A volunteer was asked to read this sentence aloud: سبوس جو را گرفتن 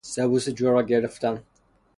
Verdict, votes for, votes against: accepted, 3, 0